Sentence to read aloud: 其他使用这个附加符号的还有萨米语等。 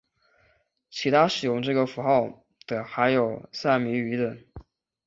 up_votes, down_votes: 2, 0